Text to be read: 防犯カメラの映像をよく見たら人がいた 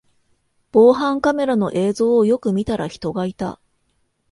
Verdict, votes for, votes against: accepted, 2, 0